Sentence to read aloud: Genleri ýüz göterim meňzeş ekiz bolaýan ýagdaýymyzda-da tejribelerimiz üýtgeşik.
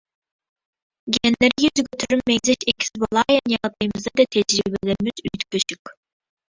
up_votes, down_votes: 0, 2